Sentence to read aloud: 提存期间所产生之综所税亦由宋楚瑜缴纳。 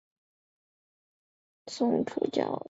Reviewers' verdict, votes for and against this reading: rejected, 1, 2